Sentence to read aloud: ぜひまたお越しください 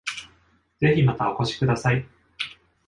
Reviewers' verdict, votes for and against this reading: accepted, 2, 0